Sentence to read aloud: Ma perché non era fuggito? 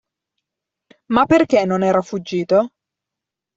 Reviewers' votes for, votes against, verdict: 2, 0, accepted